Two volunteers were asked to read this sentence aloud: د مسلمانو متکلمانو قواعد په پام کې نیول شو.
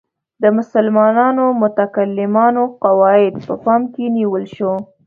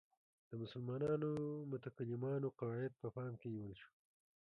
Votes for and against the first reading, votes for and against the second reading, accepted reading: 2, 0, 1, 2, first